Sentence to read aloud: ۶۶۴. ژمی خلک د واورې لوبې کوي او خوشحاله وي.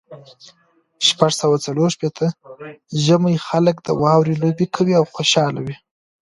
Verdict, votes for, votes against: rejected, 0, 2